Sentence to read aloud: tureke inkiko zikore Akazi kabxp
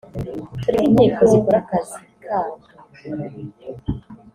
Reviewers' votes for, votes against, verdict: 1, 2, rejected